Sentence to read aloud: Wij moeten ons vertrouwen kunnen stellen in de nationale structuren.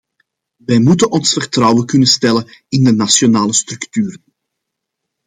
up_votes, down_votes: 2, 0